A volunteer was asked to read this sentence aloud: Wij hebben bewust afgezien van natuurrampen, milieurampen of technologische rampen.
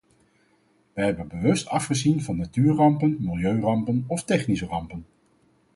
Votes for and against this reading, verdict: 0, 4, rejected